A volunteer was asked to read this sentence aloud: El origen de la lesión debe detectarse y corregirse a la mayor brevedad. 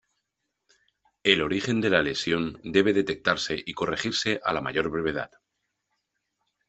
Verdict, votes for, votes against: accepted, 2, 0